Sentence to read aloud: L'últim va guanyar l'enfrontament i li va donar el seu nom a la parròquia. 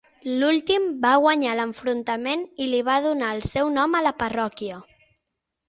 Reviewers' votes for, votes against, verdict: 9, 0, accepted